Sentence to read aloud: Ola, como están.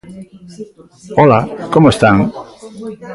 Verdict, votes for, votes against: rejected, 1, 2